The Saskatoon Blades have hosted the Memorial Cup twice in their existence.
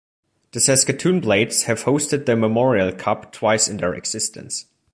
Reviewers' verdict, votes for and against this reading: accepted, 2, 0